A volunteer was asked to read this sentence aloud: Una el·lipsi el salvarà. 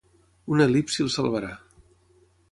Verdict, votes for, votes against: rejected, 3, 3